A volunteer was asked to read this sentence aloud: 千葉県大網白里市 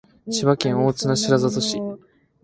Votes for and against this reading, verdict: 2, 1, accepted